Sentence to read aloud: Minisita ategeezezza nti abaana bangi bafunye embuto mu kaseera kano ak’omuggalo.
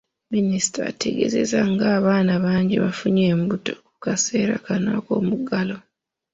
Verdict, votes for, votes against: accepted, 2, 0